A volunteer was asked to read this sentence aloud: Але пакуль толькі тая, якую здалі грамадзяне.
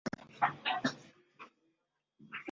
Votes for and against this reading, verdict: 0, 2, rejected